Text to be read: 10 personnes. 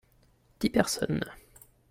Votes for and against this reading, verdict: 0, 2, rejected